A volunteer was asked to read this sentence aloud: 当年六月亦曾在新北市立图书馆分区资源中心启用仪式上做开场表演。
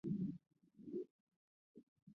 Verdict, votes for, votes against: rejected, 0, 2